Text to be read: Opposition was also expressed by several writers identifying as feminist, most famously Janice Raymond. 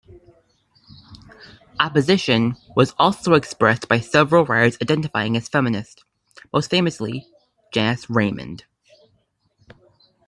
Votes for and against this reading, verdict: 2, 0, accepted